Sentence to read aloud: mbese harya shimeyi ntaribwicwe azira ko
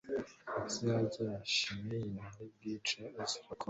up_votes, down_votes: 2, 0